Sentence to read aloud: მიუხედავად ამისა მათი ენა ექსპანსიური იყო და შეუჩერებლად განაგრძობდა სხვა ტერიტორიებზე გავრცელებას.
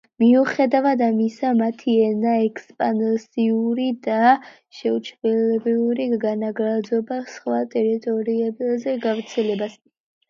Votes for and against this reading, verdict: 1, 2, rejected